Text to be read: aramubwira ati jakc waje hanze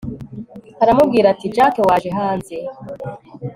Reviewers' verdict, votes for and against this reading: accepted, 2, 0